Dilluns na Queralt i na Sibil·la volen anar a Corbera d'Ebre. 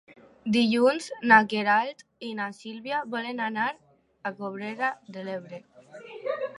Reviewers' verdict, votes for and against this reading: rejected, 0, 2